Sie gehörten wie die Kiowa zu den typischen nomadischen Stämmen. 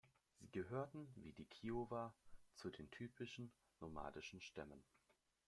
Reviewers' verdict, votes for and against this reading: rejected, 0, 2